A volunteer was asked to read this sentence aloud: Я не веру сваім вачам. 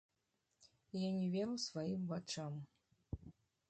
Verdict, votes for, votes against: accepted, 2, 0